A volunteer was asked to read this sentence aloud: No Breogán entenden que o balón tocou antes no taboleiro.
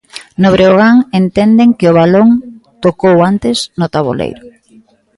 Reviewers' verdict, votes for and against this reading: rejected, 1, 2